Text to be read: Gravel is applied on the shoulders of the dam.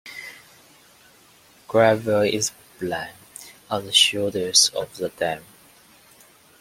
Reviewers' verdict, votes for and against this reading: rejected, 0, 2